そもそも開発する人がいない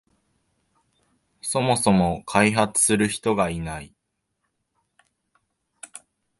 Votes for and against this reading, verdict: 2, 0, accepted